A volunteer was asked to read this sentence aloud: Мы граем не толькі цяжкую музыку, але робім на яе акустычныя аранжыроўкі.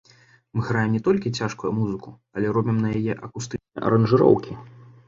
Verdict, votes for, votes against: rejected, 1, 2